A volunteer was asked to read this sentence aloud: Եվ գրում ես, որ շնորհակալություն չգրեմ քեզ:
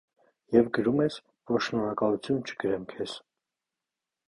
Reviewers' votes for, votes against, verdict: 0, 2, rejected